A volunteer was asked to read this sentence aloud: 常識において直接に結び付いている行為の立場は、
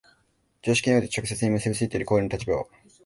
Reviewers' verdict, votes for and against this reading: accepted, 2, 0